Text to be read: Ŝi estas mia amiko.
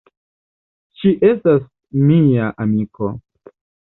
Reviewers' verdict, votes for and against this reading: accepted, 2, 0